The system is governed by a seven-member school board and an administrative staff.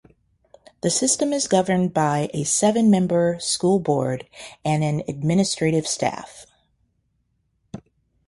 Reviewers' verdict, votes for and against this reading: accepted, 2, 0